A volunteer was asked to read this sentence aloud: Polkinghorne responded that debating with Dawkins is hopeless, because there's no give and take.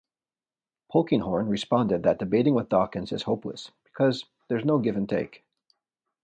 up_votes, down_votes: 2, 0